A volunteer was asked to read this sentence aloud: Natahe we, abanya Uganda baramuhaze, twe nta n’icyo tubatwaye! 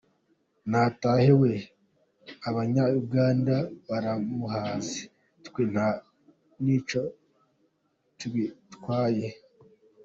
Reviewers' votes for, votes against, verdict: 2, 0, accepted